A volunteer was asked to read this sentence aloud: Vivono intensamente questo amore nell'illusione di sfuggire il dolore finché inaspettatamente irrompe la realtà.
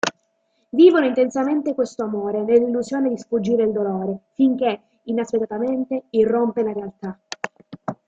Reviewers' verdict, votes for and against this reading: rejected, 1, 2